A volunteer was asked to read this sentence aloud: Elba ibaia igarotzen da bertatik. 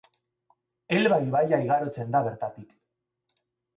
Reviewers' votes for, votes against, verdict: 2, 0, accepted